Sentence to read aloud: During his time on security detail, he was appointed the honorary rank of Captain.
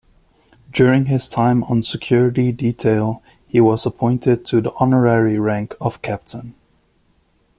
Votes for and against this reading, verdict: 0, 2, rejected